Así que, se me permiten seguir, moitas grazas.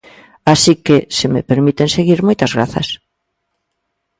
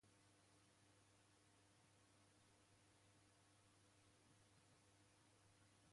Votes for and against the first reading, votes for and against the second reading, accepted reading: 2, 0, 0, 2, first